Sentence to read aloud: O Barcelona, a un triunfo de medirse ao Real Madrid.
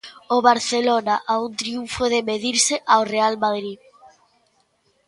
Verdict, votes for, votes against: accepted, 2, 0